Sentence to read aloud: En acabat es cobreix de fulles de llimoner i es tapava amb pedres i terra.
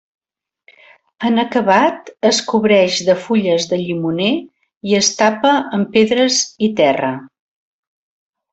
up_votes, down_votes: 0, 2